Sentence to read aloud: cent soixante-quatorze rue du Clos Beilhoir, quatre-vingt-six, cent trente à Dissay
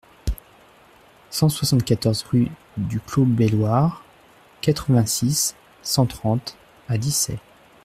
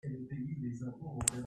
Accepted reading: first